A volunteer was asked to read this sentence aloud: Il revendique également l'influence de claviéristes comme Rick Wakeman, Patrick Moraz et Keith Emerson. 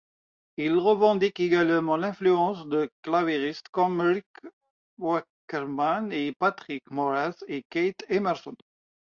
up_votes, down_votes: 0, 2